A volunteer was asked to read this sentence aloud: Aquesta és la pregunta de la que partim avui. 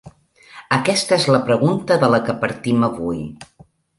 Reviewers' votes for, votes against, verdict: 2, 0, accepted